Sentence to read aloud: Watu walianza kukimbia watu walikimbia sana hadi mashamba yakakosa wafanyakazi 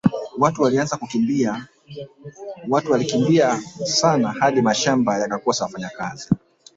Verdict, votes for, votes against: rejected, 1, 2